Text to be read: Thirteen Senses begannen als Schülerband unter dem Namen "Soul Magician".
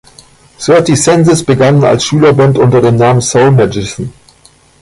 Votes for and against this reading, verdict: 0, 2, rejected